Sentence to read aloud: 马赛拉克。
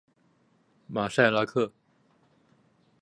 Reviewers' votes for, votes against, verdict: 2, 0, accepted